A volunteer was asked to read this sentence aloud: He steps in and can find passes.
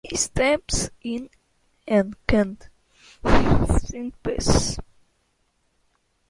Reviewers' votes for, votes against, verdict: 1, 2, rejected